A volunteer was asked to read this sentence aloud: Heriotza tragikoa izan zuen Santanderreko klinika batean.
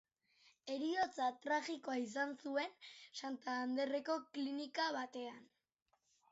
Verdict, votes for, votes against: accepted, 2, 0